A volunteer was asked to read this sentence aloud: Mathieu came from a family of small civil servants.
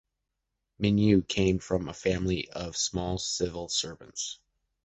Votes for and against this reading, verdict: 1, 2, rejected